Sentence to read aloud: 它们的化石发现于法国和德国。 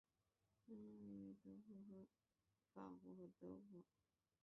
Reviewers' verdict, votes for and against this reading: rejected, 0, 3